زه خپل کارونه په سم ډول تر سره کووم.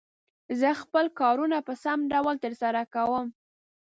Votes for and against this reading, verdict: 2, 0, accepted